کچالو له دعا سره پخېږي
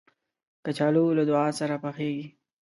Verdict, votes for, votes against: rejected, 0, 2